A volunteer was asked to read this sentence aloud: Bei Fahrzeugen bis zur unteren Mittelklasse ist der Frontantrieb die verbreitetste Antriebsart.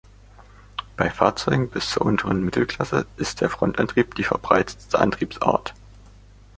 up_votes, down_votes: 2, 1